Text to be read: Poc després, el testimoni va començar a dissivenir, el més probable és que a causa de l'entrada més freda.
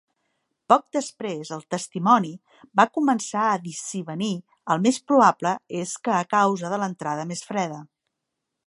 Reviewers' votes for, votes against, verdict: 3, 0, accepted